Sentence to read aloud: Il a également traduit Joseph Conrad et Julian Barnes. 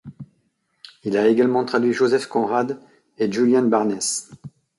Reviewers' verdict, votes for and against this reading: accepted, 2, 0